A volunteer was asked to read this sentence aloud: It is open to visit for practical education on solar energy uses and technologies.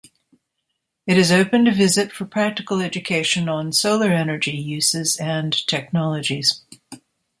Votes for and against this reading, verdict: 2, 0, accepted